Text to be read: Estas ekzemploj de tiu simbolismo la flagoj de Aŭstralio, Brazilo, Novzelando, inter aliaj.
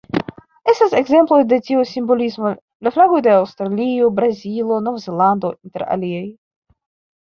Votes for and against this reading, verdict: 0, 2, rejected